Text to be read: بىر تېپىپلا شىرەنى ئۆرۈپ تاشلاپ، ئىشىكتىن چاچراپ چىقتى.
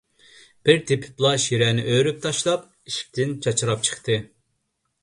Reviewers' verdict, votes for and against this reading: accepted, 2, 0